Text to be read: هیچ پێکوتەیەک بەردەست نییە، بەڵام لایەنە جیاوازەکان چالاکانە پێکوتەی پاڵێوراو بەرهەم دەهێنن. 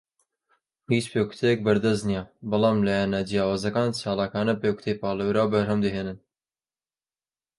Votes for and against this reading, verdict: 2, 0, accepted